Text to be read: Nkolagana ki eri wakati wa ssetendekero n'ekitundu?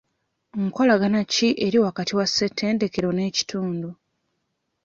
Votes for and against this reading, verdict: 2, 0, accepted